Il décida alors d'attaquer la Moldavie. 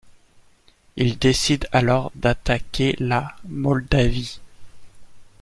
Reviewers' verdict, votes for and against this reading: rejected, 0, 2